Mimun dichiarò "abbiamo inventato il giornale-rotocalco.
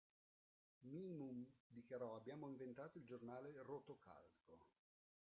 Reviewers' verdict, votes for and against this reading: rejected, 1, 2